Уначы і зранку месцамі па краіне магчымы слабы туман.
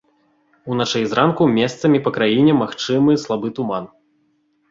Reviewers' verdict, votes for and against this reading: accepted, 2, 0